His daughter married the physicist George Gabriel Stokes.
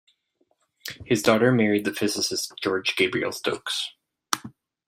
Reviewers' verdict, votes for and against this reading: accepted, 2, 0